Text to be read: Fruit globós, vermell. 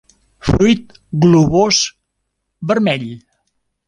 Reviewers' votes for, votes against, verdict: 1, 2, rejected